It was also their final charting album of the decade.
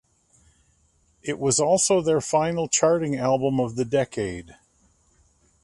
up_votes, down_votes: 2, 0